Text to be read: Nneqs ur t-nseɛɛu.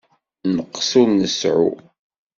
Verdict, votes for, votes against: rejected, 0, 2